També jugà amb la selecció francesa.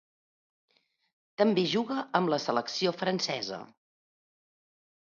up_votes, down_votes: 1, 3